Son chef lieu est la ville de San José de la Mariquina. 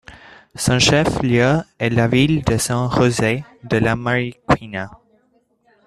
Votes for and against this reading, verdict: 2, 1, accepted